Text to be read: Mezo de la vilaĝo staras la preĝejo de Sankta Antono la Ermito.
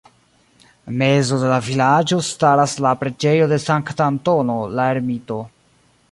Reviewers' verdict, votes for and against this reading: accepted, 2, 0